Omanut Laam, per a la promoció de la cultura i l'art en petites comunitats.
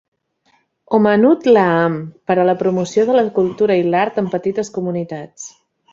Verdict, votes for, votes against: accepted, 2, 0